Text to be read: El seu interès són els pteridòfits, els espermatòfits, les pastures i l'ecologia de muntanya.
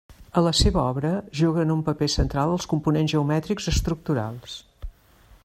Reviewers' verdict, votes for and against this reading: rejected, 0, 2